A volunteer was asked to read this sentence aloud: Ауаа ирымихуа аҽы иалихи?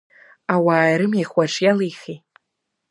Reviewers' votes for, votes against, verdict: 2, 0, accepted